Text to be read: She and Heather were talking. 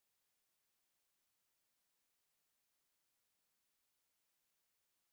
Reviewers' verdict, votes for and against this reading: rejected, 0, 2